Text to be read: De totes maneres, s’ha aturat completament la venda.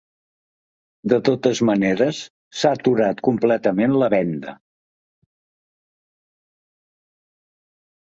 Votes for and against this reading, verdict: 3, 0, accepted